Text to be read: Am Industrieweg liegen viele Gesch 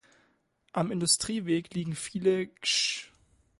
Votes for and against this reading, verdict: 2, 0, accepted